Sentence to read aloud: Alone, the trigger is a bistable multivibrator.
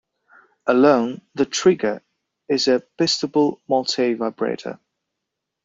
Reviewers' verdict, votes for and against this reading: rejected, 1, 2